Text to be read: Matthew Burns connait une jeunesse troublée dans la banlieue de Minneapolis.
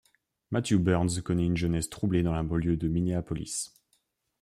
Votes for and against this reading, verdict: 2, 0, accepted